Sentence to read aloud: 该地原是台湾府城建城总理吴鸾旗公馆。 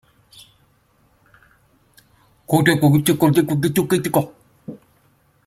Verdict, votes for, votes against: rejected, 0, 2